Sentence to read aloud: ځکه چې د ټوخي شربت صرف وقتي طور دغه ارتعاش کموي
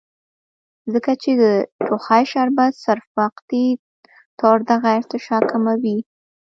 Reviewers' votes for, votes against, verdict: 1, 3, rejected